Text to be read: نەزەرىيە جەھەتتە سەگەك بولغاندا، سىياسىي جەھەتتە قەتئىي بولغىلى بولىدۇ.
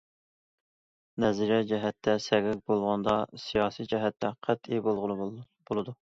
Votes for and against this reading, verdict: 1, 2, rejected